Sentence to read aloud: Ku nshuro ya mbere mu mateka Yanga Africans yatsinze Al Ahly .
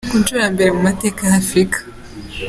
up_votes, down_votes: 0, 2